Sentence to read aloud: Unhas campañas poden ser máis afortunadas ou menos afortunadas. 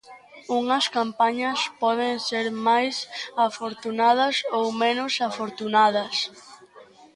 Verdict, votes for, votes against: accepted, 2, 1